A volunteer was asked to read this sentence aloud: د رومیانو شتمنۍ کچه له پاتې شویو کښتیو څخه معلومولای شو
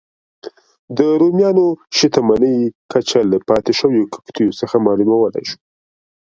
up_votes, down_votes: 2, 0